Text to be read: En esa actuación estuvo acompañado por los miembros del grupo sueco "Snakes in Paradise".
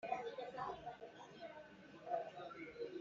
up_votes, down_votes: 1, 2